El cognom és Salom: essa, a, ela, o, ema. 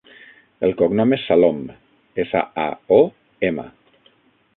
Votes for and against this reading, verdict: 0, 6, rejected